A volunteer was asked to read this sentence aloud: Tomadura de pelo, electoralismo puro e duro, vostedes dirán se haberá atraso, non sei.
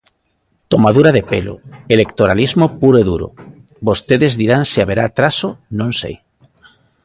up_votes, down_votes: 2, 0